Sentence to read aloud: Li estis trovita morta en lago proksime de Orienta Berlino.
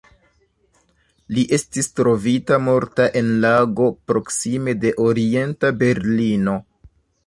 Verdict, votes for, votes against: rejected, 0, 2